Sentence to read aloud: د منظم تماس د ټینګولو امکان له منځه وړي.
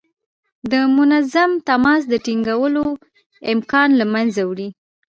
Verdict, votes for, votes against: accepted, 2, 0